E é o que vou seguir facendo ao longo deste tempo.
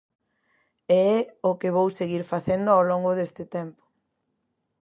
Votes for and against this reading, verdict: 2, 0, accepted